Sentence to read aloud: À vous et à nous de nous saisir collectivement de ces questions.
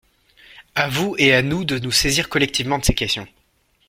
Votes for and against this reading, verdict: 2, 0, accepted